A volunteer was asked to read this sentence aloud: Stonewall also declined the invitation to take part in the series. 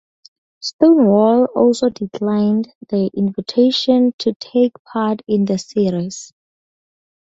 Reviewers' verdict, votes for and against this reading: accepted, 2, 0